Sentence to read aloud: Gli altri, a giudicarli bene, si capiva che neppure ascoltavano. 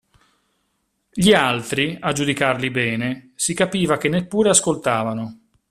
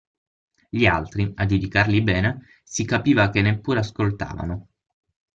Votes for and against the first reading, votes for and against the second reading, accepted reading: 2, 0, 3, 6, first